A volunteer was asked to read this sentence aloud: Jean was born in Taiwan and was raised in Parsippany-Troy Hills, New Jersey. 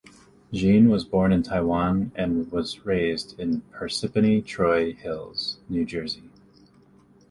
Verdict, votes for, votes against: accepted, 2, 0